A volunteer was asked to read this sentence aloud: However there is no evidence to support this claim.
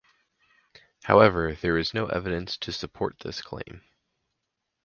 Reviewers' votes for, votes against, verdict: 4, 0, accepted